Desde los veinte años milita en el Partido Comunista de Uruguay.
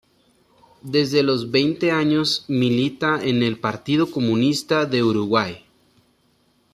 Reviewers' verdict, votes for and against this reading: accepted, 2, 0